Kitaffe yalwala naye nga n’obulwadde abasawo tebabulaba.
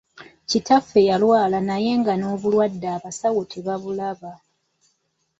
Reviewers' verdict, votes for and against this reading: accepted, 2, 0